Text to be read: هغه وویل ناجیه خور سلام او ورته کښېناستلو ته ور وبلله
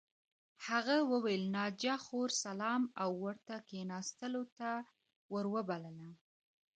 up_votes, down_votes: 0, 2